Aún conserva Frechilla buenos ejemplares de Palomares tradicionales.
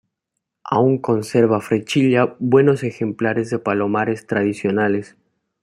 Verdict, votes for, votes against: accepted, 2, 0